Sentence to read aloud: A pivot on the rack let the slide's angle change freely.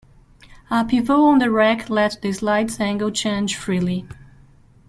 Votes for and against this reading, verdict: 1, 2, rejected